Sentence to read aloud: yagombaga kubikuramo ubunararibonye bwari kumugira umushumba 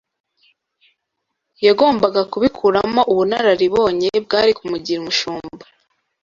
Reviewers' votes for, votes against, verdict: 2, 0, accepted